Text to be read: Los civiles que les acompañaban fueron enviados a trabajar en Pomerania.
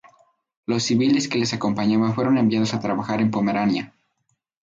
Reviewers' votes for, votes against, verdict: 2, 0, accepted